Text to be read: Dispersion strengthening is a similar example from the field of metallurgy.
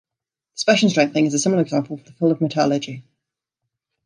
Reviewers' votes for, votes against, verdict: 0, 2, rejected